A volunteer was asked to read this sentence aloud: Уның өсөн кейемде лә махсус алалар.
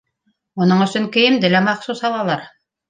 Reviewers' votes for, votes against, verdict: 2, 0, accepted